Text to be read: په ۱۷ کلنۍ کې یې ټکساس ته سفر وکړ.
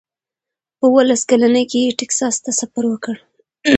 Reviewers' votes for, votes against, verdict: 0, 2, rejected